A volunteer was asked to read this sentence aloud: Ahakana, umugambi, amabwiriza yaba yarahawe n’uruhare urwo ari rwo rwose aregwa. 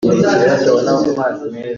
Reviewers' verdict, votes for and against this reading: rejected, 0, 2